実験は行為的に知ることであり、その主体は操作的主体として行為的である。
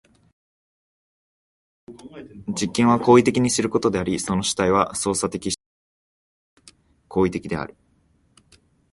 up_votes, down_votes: 1, 4